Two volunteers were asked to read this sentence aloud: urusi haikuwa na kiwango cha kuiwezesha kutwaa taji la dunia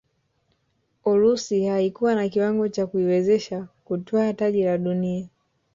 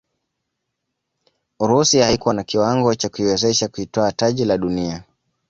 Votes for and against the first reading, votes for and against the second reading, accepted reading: 0, 2, 2, 1, second